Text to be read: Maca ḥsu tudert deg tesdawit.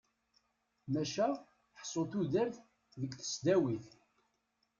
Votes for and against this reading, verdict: 2, 0, accepted